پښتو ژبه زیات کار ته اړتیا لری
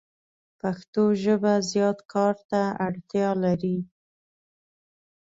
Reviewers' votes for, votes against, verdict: 2, 0, accepted